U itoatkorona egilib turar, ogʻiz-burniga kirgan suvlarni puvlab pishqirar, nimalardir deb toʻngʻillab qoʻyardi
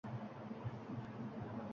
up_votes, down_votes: 0, 2